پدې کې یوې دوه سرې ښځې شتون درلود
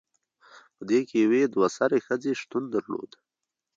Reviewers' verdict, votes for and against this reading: accepted, 2, 1